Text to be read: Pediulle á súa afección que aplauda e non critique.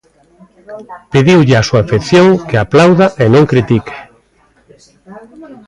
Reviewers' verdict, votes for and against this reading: rejected, 1, 2